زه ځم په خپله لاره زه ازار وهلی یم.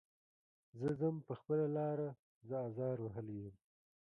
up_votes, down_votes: 2, 0